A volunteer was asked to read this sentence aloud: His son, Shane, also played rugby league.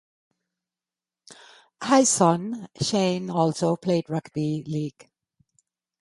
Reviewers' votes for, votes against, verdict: 0, 2, rejected